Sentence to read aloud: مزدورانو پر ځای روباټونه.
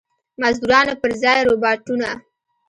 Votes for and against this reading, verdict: 1, 2, rejected